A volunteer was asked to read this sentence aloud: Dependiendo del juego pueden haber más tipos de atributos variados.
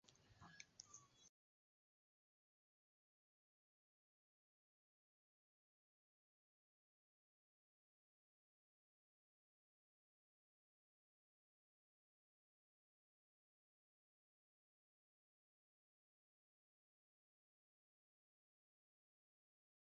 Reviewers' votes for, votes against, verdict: 0, 2, rejected